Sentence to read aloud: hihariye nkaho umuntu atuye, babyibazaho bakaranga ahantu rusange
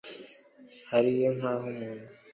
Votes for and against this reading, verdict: 0, 2, rejected